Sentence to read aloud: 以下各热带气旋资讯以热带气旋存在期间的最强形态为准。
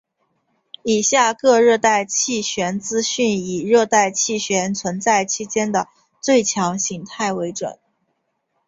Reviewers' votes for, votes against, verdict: 1, 2, rejected